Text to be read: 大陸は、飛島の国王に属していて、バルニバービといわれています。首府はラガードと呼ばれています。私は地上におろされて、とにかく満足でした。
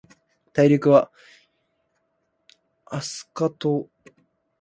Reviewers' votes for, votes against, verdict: 0, 2, rejected